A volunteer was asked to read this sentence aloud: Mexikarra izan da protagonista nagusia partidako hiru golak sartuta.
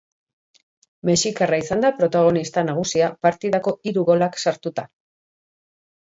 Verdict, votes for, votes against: accepted, 2, 0